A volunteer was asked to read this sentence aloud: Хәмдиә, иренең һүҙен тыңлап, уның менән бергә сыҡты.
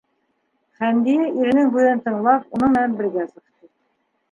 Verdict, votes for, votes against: accepted, 3, 0